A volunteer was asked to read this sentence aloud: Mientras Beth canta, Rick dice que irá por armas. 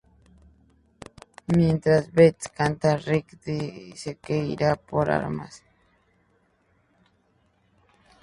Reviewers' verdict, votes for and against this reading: rejected, 2, 4